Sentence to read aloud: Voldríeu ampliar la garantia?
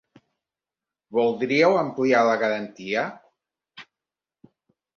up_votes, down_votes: 3, 0